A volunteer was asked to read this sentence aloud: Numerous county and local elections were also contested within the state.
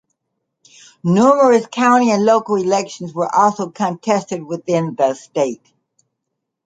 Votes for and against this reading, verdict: 2, 0, accepted